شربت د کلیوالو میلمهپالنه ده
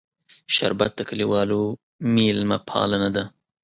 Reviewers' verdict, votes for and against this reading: accepted, 3, 0